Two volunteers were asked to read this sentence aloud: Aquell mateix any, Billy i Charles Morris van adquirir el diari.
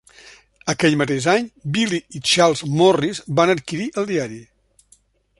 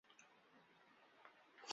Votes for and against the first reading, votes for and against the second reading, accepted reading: 3, 0, 1, 2, first